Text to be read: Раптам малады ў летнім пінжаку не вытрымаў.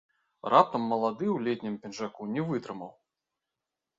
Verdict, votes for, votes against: rejected, 1, 2